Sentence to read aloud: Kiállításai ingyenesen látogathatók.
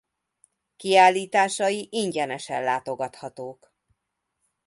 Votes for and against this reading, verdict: 2, 0, accepted